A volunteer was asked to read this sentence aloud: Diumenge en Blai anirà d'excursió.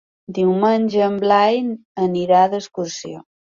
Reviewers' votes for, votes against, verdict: 3, 0, accepted